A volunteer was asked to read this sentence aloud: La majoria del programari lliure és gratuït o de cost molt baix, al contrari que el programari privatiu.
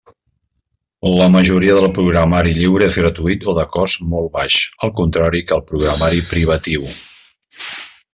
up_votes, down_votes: 2, 0